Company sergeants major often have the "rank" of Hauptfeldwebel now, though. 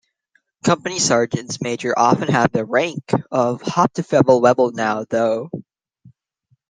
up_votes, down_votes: 1, 2